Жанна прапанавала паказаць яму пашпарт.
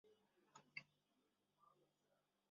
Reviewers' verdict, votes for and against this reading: rejected, 0, 2